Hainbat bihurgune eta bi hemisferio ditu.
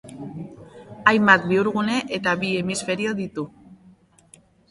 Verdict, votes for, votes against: accepted, 2, 0